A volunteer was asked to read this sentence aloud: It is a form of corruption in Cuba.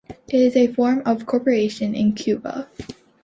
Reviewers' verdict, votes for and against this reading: rejected, 1, 2